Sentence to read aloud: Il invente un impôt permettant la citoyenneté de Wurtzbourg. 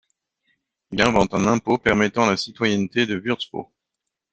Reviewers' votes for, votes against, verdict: 1, 2, rejected